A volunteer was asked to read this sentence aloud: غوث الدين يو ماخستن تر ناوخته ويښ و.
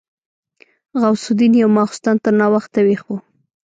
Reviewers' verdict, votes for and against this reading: rejected, 1, 2